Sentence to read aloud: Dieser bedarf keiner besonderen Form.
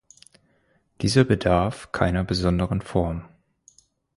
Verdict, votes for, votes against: accepted, 4, 0